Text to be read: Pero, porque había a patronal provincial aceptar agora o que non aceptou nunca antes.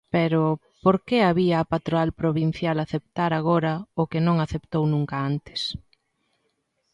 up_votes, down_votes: 1, 3